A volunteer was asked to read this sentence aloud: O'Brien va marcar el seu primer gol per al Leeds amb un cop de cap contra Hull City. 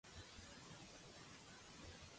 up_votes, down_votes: 0, 2